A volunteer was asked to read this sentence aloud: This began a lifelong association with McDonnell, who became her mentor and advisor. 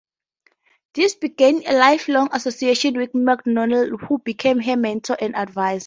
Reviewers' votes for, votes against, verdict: 0, 2, rejected